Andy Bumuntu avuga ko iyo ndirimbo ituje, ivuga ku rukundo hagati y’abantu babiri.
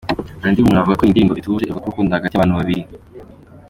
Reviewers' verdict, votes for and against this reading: accepted, 2, 0